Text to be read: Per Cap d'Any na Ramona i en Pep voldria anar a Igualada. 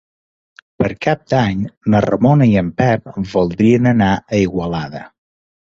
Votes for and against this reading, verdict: 0, 2, rejected